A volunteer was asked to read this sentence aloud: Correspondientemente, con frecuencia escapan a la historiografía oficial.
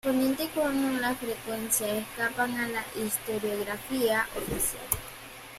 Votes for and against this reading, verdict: 0, 2, rejected